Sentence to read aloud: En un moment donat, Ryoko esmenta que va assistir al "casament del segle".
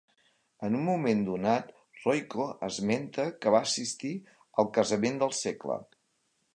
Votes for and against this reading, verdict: 1, 2, rejected